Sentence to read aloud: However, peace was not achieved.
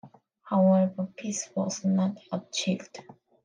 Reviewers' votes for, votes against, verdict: 2, 0, accepted